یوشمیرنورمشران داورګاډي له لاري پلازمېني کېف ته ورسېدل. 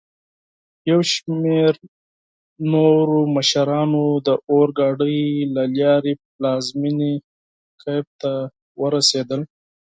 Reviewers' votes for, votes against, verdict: 2, 4, rejected